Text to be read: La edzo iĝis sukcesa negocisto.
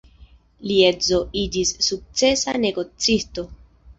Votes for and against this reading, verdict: 1, 2, rejected